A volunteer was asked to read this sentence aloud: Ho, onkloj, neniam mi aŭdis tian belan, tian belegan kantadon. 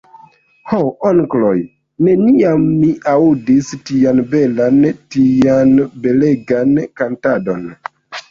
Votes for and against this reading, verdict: 1, 2, rejected